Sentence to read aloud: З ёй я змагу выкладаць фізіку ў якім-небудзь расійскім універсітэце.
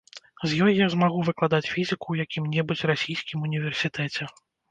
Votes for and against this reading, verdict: 2, 0, accepted